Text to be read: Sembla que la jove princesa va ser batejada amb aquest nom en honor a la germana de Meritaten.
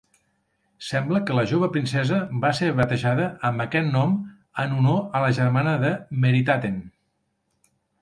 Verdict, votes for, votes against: accepted, 4, 1